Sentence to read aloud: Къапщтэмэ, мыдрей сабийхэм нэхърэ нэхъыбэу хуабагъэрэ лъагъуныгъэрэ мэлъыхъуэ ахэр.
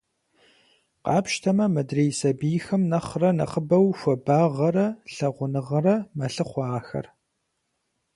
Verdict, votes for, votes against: accepted, 4, 0